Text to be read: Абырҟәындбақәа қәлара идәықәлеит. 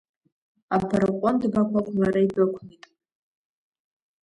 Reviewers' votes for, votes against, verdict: 0, 2, rejected